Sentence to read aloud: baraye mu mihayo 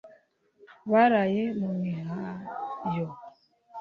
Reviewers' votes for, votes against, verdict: 2, 0, accepted